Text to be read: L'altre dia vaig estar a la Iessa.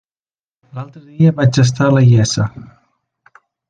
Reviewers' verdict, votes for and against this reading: accepted, 2, 0